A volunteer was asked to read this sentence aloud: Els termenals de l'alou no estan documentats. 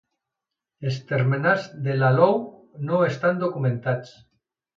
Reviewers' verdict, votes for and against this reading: accepted, 2, 0